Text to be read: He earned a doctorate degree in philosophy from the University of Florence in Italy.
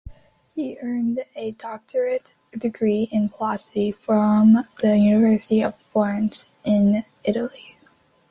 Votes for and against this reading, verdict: 2, 0, accepted